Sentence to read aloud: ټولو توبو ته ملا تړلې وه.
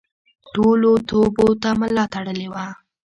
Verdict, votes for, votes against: accepted, 3, 0